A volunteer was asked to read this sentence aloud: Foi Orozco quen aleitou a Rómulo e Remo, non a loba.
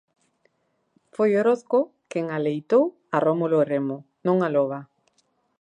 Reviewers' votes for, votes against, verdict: 2, 0, accepted